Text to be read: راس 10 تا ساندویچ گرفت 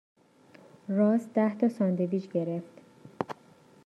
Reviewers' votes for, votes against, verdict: 0, 2, rejected